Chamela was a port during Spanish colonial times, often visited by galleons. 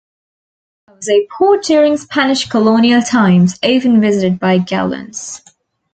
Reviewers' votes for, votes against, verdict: 0, 2, rejected